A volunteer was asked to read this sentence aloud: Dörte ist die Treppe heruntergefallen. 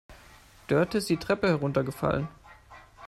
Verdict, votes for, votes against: accepted, 2, 0